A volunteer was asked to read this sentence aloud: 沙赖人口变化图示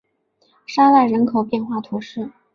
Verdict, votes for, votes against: accepted, 2, 0